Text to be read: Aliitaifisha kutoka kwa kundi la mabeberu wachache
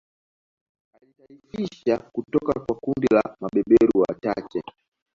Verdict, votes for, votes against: accepted, 2, 1